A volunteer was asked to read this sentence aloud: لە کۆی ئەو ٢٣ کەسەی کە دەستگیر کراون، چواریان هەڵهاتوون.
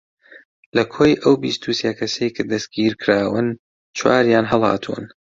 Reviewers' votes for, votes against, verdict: 0, 2, rejected